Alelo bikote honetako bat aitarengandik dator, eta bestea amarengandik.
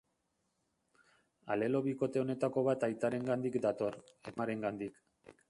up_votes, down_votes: 0, 2